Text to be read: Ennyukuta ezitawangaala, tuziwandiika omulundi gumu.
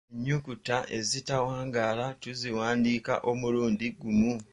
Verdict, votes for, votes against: rejected, 0, 2